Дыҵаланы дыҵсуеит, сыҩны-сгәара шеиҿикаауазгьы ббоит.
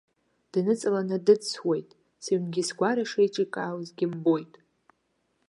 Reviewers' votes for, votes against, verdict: 0, 2, rejected